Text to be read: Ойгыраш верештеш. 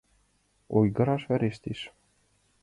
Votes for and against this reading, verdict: 2, 1, accepted